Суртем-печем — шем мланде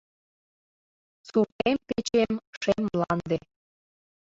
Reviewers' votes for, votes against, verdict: 0, 2, rejected